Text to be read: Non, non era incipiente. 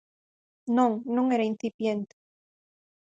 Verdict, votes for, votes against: accepted, 4, 0